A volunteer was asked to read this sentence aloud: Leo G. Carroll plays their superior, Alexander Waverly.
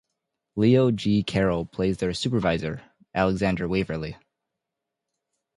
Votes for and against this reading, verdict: 0, 2, rejected